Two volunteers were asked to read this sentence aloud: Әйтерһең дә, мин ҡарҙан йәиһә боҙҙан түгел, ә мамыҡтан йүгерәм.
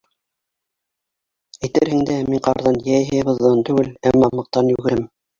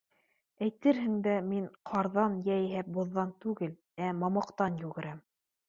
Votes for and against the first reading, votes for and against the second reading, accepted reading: 0, 2, 2, 0, second